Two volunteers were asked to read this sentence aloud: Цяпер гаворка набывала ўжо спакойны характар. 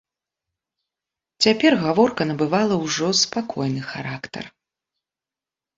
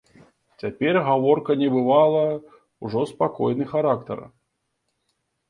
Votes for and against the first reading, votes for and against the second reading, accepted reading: 2, 0, 0, 2, first